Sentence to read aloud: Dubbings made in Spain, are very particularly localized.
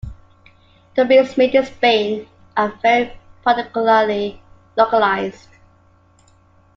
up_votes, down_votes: 0, 2